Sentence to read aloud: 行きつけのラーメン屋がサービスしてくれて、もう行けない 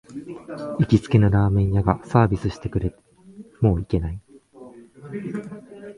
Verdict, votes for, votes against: rejected, 0, 2